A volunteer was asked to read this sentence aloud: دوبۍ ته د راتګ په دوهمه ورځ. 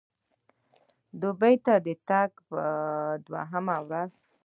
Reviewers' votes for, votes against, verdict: 2, 0, accepted